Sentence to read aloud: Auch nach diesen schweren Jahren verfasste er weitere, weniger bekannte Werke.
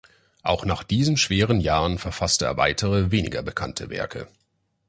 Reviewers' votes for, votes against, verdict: 2, 0, accepted